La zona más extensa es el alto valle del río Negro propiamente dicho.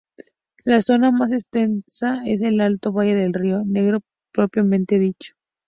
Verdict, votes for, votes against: rejected, 0, 2